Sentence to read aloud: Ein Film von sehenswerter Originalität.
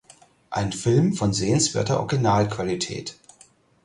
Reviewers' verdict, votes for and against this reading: rejected, 0, 4